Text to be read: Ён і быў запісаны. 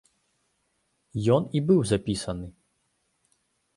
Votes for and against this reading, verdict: 2, 0, accepted